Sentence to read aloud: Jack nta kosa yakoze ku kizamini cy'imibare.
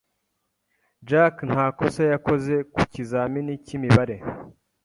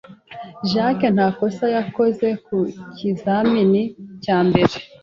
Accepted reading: first